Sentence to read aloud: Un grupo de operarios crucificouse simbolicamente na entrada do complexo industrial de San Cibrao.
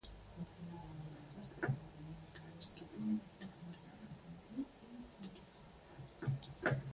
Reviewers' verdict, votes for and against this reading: rejected, 0, 2